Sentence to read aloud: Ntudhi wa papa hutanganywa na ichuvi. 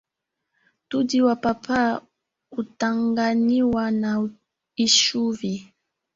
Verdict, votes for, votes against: rejected, 2, 3